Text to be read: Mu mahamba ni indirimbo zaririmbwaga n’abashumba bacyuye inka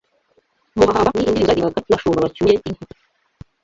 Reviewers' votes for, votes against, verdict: 0, 2, rejected